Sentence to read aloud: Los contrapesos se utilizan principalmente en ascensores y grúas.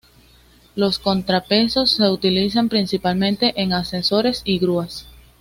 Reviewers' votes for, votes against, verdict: 2, 0, accepted